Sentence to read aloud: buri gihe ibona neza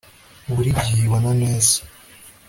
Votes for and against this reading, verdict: 2, 0, accepted